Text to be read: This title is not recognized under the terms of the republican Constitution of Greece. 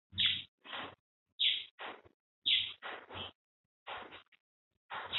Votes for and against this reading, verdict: 0, 2, rejected